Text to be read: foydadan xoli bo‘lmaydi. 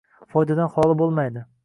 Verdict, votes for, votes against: accepted, 2, 0